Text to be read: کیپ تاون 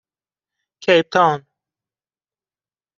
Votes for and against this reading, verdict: 2, 0, accepted